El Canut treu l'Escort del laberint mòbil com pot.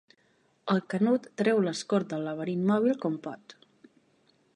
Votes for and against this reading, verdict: 2, 0, accepted